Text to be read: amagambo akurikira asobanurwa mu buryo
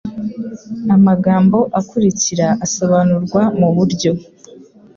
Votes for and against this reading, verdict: 2, 0, accepted